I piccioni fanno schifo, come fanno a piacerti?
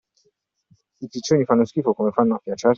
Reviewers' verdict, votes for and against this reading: rejected, 1, 2